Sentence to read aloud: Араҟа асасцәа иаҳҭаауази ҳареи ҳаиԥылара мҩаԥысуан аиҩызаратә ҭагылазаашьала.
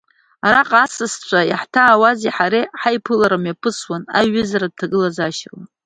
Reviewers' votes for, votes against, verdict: 1, 2, rejected